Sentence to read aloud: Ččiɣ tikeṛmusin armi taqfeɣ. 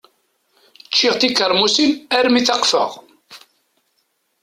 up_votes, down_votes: 2, 0